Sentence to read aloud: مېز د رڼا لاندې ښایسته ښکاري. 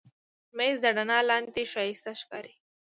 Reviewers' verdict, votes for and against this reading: accepted, 2, 0